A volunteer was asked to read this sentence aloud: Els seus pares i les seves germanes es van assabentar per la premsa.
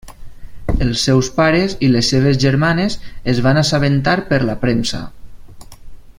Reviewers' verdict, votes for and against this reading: accepted, 3, 0